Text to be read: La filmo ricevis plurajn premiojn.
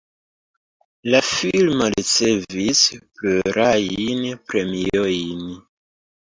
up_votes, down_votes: 0, 2